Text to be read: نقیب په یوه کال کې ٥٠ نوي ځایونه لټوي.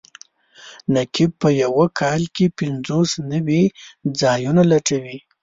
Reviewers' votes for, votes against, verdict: 0, 2, rejected